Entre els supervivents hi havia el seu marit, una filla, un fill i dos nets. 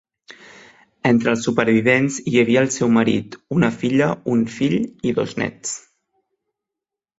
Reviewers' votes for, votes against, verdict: 3, 0, accepted